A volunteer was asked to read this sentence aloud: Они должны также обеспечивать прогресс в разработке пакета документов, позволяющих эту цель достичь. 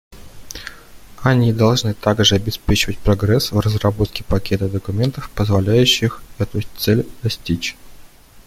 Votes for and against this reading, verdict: 2, 0, accepted